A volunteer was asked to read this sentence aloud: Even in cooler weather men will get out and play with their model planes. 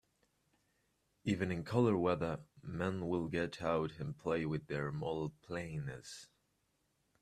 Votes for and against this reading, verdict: 1, 2, rejected